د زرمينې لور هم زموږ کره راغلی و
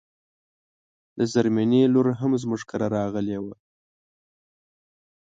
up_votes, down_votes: 0, 2